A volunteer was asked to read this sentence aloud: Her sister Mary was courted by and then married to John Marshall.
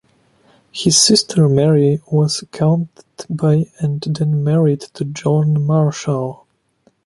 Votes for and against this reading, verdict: 1, 2, rejected